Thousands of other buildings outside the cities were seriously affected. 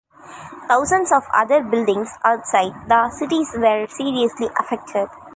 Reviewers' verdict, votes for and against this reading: accepted, 2, 1